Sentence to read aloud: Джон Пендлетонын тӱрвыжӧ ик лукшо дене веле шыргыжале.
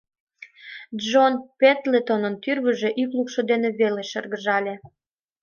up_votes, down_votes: 2, 0